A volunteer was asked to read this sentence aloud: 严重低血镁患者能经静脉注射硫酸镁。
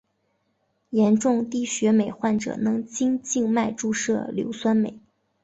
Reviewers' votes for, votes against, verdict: 2, 1, accepted